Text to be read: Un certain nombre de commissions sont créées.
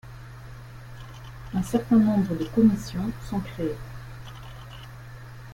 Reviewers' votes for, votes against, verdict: 2, 1, accepted